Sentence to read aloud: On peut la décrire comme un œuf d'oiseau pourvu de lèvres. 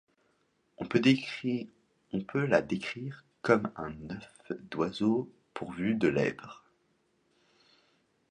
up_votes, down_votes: 0, 2